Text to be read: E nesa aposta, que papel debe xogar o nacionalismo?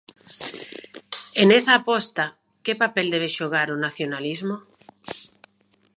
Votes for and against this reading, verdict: 2, 0, accepted